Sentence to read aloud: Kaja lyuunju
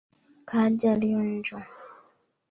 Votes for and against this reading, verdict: 0, 2, rejected